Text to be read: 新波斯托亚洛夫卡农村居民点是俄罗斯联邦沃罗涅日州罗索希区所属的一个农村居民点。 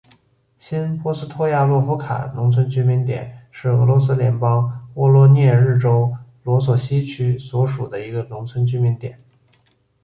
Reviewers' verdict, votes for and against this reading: accepted, 2, 1